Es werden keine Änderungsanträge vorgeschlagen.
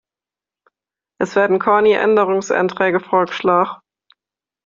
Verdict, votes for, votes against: rejected, 0, 2